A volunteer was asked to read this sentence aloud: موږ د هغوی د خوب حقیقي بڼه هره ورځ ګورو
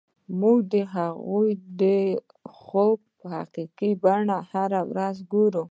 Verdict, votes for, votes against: rejected, 1, 2